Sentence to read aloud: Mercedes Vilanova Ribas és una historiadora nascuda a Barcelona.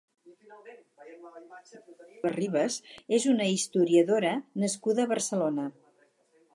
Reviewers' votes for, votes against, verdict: 0, 4, rejected